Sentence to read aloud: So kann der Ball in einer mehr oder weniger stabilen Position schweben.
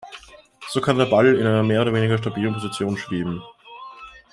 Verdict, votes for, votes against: rejected, 1, 2